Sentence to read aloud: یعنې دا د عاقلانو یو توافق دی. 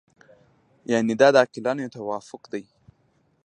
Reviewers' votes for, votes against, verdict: 2, 0, accepted